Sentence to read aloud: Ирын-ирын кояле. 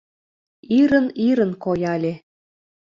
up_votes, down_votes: 2, 0